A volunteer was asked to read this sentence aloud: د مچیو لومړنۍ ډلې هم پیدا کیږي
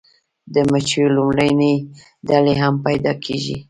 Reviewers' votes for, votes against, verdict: 2, 0, accepted